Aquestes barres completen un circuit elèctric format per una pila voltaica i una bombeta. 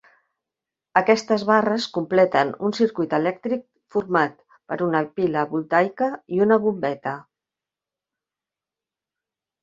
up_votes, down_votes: 3, 0